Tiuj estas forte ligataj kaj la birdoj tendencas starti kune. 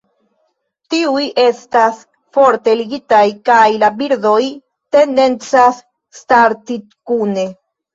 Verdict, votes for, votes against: rejected, 0, 2